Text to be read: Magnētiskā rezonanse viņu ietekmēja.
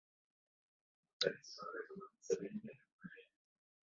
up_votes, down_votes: 0, 2